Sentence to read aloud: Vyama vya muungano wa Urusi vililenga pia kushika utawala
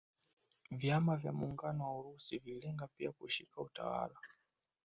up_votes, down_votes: 0, 2